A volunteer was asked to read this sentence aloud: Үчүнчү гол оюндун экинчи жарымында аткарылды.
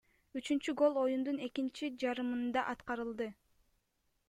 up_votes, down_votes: 2, 0